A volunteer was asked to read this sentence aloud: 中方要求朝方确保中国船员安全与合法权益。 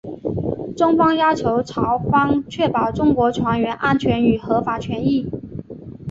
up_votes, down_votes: 6, 0